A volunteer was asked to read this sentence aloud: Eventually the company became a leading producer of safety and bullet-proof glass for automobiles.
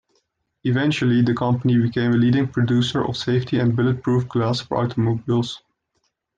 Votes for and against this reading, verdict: 2, 0, accepted